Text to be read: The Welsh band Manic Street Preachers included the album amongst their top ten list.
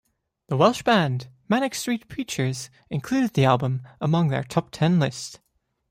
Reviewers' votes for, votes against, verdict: 0, 2, rejected